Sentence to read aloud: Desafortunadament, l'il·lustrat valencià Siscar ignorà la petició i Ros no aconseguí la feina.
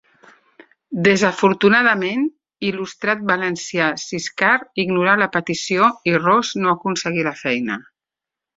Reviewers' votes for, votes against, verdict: 2, 0, accepted